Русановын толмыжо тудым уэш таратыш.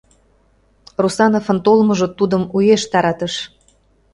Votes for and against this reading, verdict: 1, 2, rejected